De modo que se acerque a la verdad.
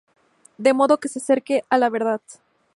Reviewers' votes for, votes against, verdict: 4, 0, accepted